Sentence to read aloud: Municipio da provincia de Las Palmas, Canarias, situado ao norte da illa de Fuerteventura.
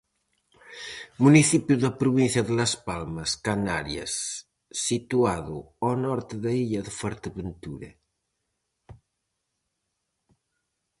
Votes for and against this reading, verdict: 4, 0, accepted